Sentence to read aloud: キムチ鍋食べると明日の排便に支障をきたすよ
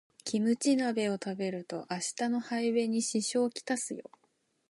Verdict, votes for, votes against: rejected, 1, 2